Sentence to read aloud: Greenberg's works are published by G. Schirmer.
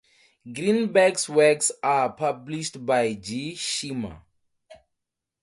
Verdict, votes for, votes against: rejected, 2, 2